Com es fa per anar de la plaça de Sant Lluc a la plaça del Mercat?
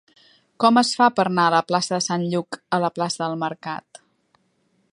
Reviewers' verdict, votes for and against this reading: accepted, 3, 1